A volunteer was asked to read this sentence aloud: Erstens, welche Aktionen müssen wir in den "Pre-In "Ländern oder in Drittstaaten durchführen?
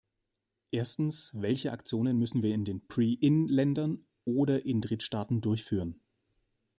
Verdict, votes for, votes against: accepted, 2, 0